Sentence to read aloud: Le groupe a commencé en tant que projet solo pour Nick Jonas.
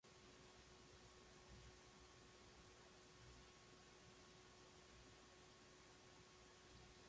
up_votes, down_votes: 0, 2